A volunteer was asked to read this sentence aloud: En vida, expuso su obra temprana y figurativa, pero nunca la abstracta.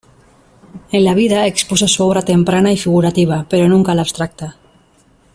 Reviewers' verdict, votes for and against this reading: rejected, 1, 2